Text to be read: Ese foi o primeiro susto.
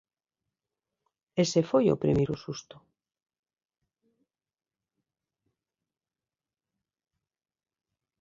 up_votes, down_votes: 2, 0